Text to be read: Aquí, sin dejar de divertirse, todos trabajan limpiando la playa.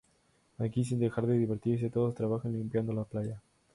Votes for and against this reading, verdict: 0, 2, rejected